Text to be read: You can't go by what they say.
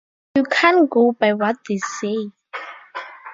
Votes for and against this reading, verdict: 2, 0, accepted